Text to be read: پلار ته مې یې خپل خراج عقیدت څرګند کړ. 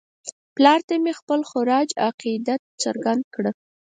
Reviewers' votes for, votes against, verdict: 4, 0, accepted